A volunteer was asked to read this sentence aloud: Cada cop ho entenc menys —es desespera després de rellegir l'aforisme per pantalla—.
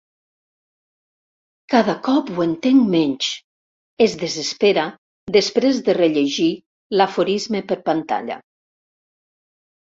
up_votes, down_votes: 2, 0